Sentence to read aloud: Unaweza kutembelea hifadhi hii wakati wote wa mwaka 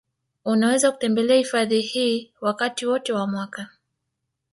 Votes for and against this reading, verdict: 1, 2, rejected